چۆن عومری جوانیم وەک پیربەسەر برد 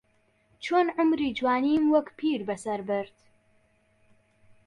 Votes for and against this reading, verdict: 3, 0, accepted